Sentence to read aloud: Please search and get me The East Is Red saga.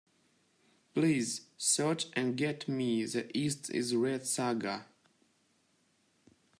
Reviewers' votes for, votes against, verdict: 2, 0, accepted